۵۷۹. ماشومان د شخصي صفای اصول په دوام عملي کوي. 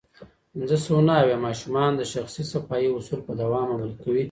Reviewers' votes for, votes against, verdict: 0, 2, rejected